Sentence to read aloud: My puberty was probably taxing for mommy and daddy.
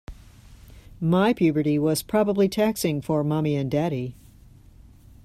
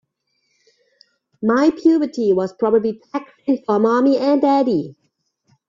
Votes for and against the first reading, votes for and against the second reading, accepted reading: 2, 0, 1, 2, first